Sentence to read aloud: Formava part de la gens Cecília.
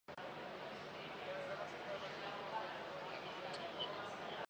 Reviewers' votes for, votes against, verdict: 0, 2, rejected